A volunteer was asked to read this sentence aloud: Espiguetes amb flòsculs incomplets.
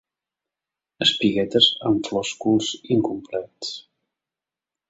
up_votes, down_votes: 3, 0